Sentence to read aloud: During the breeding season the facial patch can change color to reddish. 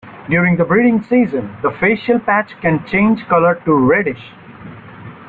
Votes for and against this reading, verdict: 2, 0, accepted